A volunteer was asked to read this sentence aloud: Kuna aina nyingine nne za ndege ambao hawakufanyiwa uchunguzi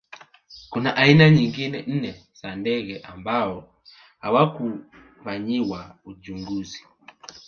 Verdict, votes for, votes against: accepted, 2, 1